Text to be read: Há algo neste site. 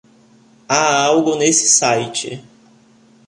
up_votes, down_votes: 1, 2